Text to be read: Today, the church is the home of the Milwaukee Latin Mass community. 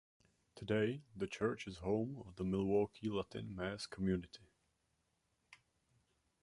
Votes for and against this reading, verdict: 1, 2, rejected